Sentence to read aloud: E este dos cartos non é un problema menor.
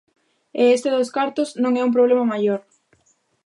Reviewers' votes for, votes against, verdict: 0, 2, rejected